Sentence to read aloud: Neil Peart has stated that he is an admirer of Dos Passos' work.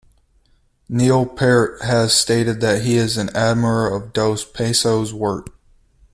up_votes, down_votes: 0, 2